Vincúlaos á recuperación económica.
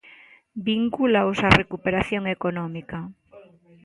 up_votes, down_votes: 3, 0